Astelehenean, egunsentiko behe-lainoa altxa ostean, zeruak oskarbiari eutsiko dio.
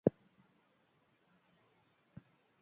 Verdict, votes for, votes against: rejected, 0, 3